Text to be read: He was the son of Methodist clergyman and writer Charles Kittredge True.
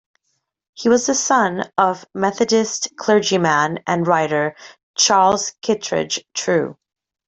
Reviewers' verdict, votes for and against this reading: accepted, 2, 0